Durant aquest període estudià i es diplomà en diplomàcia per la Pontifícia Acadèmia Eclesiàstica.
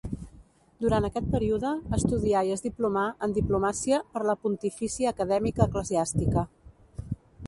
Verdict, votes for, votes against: accepted, 2, 0